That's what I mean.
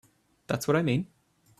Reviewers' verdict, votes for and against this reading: accepted, 2, 0